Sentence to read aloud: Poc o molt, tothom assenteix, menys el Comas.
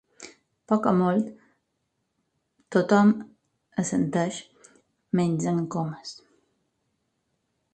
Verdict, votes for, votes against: rejected, 2, 4